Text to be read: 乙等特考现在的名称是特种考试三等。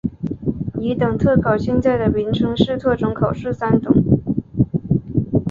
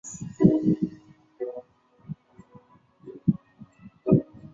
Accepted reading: first